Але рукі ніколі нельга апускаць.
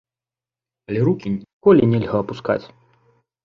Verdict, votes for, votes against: rejected, 0, 2